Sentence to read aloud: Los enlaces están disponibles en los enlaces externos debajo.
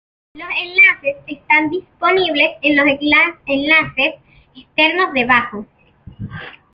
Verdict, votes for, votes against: rejected, 0, 2